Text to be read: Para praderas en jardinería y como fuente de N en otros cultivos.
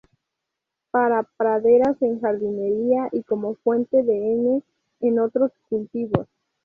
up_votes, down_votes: 2, 0